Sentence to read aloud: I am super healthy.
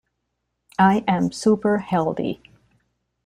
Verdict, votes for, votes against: rejected, 1, 2